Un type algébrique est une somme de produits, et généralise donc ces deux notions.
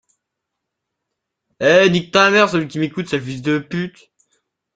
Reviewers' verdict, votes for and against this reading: rejected, 0, 3